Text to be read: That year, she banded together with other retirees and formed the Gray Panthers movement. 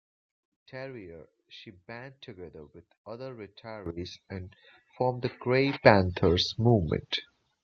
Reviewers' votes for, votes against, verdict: 0, 2, rejected